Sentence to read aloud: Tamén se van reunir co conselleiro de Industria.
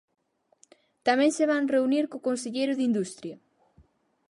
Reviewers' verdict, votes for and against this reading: accepted, 4, 0